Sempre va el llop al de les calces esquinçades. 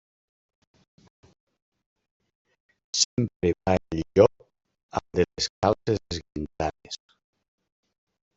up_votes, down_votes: 0, 2